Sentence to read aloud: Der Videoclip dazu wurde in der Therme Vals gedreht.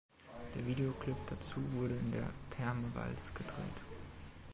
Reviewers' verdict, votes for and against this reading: rejected, 0, 2